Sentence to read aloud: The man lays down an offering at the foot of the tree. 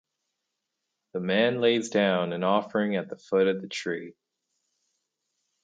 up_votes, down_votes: 2, 2